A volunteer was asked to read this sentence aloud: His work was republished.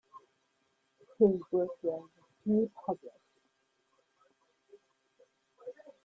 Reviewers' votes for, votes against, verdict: 1, 2, rejected